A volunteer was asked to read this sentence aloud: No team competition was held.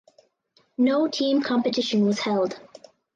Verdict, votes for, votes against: accepted, 4, 0